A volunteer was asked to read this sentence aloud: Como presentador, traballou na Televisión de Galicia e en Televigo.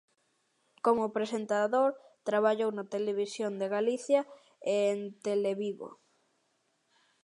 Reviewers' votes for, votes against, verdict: 2, 0, accepted